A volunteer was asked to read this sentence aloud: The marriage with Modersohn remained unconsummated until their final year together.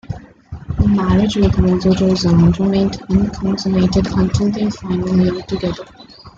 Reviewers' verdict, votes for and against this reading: rejected, 1, 2